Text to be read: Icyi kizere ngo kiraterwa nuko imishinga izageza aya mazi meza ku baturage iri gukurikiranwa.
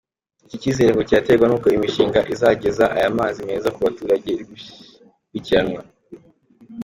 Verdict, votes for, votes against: accepted, 2, 1